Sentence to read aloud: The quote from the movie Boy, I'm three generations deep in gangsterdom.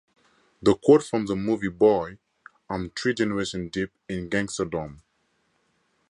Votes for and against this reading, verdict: 0, 4, rejected